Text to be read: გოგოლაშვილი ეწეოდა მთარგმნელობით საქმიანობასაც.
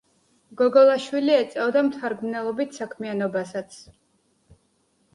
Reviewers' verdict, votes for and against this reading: accepted, 2, 0